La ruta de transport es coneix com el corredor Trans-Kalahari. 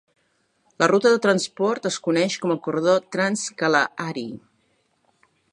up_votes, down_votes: 2, 0